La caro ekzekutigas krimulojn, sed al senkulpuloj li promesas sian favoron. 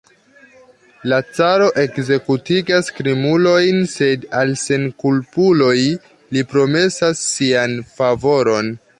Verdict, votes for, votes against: accepted, 3, 1